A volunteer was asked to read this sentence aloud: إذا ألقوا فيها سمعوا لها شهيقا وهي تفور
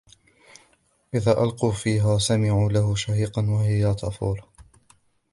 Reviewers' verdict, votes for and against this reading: rejected, 1, 2